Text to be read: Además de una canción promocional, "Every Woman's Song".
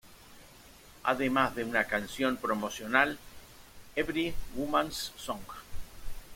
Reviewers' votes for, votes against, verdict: 1, 2, rejected